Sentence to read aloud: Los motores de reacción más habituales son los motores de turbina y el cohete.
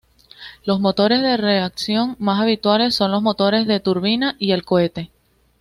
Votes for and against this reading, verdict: 2, 0, accepted